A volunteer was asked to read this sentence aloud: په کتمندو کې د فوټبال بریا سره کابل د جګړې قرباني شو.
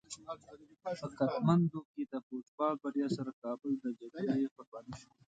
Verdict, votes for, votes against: accepted, 2, 0